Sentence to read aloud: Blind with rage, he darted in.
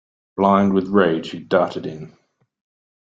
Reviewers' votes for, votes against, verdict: 2, 0, accepted